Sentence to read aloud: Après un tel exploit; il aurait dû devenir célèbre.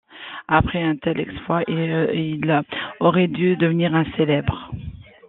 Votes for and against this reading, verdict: 0, 2, rejected